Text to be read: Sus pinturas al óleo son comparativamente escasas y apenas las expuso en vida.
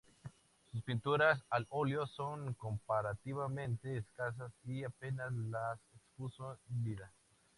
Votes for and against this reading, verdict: 0, 2, rejected